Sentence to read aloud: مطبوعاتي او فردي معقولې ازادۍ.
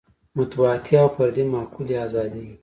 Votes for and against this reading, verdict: 2, 0, accepted